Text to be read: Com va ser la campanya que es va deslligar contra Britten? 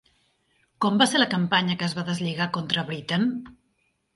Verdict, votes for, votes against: accepted, 2, 0